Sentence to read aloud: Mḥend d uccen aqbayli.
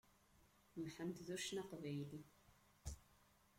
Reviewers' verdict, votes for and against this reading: rejected, 1, 2